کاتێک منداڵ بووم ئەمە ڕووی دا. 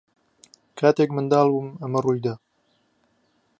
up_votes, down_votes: 2, 0